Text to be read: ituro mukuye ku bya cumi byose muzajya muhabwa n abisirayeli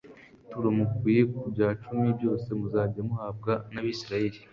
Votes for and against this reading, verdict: 2, 0, accepted